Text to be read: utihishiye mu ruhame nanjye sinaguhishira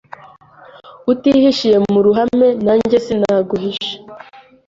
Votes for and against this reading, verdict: 1, 2, rejected